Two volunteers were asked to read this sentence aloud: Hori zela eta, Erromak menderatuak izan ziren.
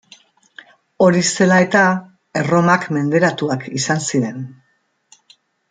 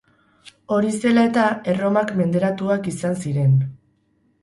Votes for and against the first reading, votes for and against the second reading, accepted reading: 2, 0, 0, 2, first